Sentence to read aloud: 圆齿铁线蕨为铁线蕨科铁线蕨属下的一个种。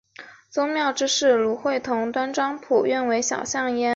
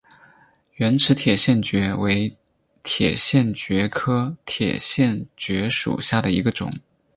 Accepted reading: second